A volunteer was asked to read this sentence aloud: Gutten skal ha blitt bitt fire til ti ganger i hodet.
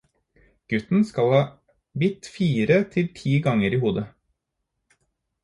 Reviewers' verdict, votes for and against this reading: rejected, 0, 4